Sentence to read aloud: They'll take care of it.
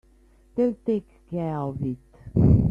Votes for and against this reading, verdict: 2, 0, accepted